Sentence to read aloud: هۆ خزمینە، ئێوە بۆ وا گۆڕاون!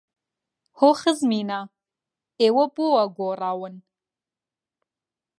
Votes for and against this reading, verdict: 2, 0, accepted